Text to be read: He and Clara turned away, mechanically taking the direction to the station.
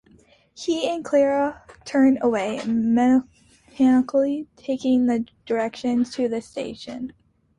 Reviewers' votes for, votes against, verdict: 2, 1, accepted